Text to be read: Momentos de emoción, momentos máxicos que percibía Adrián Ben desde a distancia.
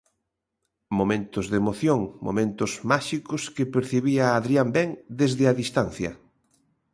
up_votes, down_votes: 3, 0